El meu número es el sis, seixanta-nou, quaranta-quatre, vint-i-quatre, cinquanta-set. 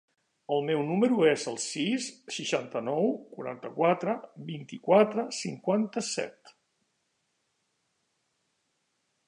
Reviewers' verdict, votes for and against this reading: accepted, 3, 0